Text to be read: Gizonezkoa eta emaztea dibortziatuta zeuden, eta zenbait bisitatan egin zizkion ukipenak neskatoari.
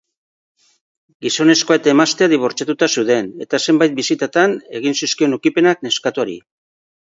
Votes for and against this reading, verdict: 2, 0, accepted